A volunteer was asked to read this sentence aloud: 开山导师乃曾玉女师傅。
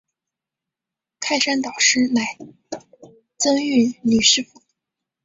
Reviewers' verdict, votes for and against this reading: rejected, 2, 3